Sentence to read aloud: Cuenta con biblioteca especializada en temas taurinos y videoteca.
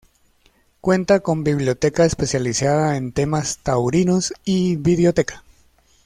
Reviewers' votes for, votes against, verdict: 2, 0, accepted